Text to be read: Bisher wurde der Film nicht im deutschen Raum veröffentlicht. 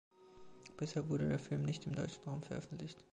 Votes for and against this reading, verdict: 2, 0, accepted